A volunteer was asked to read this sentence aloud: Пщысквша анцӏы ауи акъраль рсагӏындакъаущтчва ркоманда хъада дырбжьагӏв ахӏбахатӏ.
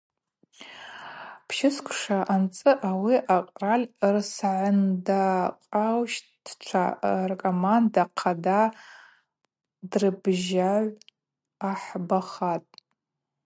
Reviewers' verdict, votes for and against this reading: accepted, 4, 0